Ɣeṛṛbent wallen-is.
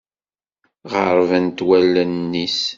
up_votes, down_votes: 2, 0